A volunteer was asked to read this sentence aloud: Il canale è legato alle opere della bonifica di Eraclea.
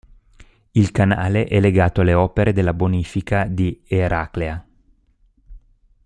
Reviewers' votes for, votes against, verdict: 0, 2, rejected